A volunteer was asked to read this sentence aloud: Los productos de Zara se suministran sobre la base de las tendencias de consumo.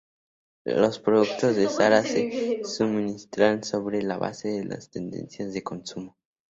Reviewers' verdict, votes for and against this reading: accepted, 2, 0